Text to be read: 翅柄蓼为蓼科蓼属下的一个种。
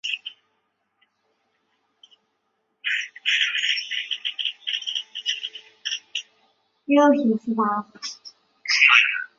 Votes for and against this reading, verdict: 1, 3, rejected